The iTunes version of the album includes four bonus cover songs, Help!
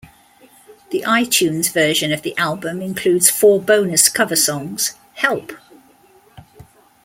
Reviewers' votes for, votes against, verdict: 2, 0, accepted